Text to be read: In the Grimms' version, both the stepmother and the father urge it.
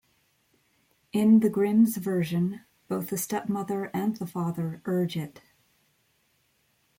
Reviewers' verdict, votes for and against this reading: accepted, 3, 0